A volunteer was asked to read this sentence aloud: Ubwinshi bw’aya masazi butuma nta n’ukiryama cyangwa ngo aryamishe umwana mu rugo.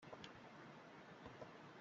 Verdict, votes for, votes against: rejected, 0, 2